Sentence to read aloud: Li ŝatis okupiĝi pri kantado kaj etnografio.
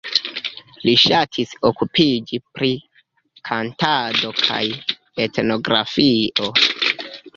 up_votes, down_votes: 0, 2